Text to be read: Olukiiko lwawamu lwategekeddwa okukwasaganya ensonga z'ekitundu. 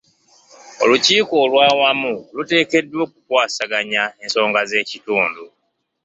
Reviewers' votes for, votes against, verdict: 1, 2, rejected